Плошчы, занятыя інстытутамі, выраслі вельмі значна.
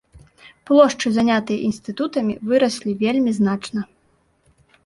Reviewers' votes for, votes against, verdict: 2, 0, accepted